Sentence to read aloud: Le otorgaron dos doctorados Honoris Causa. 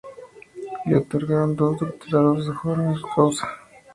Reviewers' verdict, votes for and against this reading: rejected, 0, 2